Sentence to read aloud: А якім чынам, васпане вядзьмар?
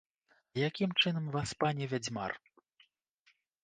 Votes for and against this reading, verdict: 1, 2, rejected